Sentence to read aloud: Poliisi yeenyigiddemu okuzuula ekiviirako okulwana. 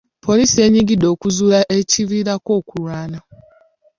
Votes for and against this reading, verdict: 0, 2, rejected